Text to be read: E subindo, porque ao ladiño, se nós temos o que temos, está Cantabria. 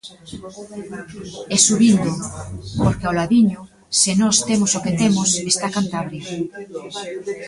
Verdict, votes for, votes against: rejected, 1, 2